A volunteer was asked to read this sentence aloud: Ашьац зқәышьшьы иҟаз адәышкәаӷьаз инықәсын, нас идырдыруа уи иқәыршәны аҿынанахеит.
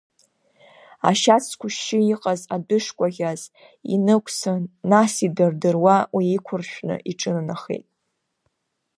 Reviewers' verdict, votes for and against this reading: accepted, 2, 1